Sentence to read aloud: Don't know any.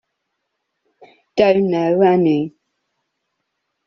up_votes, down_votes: 2, 0